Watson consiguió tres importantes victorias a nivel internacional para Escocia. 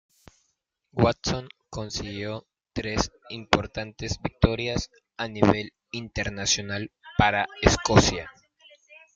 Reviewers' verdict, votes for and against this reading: rejected, 0, 2